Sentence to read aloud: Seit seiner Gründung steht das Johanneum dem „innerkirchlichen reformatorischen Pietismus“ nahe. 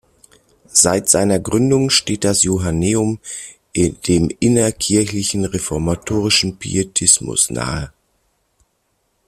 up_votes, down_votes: 0, 2